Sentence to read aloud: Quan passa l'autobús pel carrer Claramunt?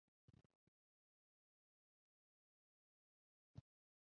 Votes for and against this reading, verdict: 0, 4, rejected